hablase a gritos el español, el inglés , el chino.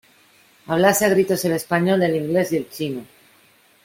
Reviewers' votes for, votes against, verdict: 1, 2, rejected